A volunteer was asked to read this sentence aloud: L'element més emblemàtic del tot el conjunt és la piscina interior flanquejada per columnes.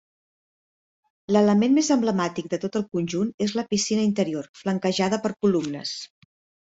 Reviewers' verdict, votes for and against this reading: accepted, 2, 0